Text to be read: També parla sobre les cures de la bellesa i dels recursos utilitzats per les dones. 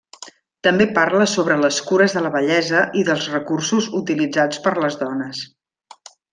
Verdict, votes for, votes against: accepted, 3, 0